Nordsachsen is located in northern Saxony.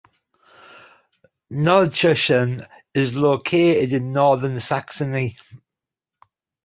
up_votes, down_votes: 0, 2